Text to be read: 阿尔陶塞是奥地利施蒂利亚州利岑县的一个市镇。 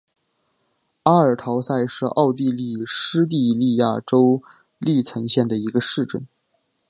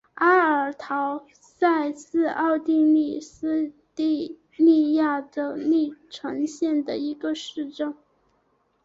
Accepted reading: first